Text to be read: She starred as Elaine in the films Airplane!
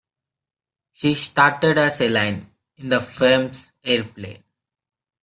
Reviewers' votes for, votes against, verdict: 0, 2, rejected